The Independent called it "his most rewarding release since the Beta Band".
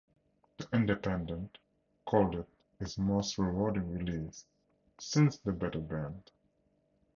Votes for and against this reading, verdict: 2, 0, accepted